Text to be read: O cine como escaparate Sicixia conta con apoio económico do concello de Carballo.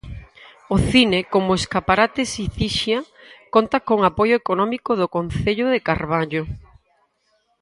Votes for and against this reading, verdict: 2, 4, rejected